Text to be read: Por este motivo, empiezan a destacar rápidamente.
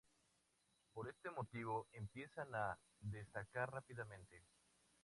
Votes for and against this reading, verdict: 2, 0, accepted